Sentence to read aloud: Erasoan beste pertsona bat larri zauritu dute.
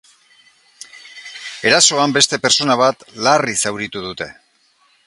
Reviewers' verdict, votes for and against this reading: accepted, 2, 0